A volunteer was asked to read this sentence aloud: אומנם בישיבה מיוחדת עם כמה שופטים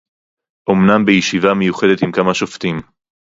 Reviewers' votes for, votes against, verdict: 2, 0, accepted